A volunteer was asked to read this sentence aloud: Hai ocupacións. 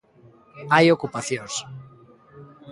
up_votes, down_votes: 2, 0